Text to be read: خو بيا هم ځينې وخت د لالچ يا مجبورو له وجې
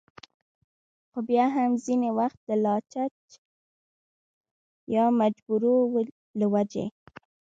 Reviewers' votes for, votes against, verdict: 1, 2, rejected